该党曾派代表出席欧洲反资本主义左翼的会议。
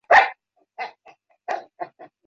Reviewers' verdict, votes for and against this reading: rejected, 0, 3